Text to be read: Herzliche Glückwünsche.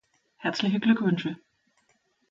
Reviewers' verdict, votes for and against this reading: accepted, 2, 0